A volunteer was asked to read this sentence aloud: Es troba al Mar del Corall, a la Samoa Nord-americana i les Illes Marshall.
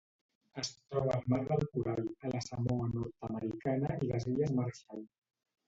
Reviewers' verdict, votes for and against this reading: rejected, 1, 2